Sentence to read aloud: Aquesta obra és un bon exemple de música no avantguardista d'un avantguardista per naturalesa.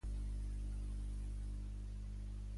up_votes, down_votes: 1, 2